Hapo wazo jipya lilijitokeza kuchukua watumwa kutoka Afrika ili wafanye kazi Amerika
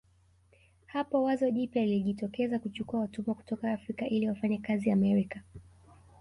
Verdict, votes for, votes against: rejected, 1, 2